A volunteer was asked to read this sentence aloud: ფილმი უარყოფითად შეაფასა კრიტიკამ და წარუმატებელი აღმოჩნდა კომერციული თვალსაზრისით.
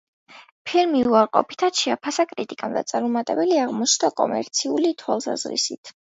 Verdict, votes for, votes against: accepted, 2, 0